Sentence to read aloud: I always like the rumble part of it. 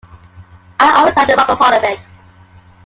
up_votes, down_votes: 1, 2